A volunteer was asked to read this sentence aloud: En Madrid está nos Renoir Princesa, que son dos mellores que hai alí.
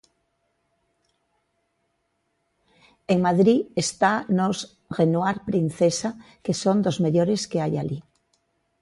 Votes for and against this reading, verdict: 2, 1, accepted